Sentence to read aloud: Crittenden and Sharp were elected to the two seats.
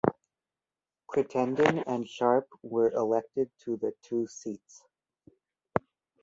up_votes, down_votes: 2, 0